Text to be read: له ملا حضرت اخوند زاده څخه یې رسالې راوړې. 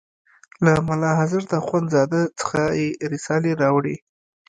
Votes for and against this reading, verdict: 1, 2, rejected